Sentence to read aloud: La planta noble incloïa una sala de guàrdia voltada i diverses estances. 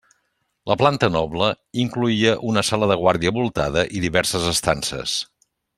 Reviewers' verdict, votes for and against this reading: accepted, 3, 0